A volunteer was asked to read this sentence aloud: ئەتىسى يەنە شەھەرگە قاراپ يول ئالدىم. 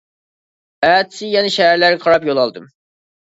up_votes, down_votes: 0, 2